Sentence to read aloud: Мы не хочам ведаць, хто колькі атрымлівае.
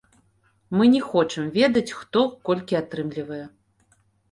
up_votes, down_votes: 2, 0